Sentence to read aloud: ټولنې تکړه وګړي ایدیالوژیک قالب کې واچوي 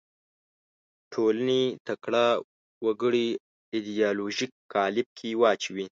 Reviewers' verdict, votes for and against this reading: rejected, 1, 2